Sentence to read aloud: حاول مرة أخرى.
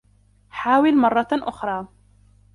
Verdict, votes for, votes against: rejected, 1, 2